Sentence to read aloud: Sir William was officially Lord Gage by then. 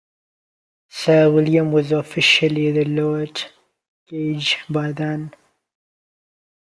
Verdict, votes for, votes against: rejected, 1, 2